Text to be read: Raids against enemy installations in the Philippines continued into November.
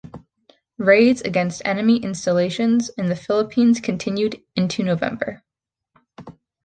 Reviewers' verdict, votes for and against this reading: accepted, 2, 0